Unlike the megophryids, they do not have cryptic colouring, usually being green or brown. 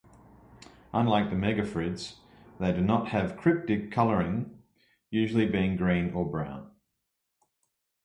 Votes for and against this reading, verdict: 2, 0, accepted